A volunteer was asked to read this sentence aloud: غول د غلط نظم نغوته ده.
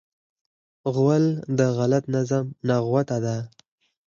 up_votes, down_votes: 4, 0